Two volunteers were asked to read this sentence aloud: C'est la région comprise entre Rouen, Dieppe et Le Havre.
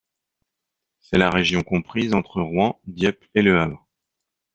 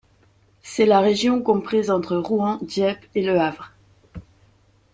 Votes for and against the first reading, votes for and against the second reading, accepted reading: 1, 2, 2, 0, second